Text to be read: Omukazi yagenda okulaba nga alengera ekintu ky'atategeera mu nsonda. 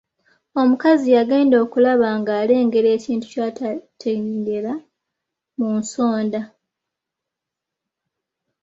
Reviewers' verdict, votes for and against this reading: rejected, 0, 3